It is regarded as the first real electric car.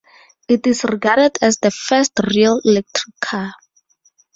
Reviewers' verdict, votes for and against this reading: rejected, 2, 2